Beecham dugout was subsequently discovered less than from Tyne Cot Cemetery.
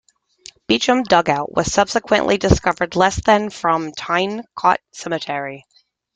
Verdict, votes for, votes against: accepted, 2, 0